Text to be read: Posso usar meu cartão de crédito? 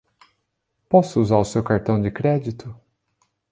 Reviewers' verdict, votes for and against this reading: rejected, 0, 2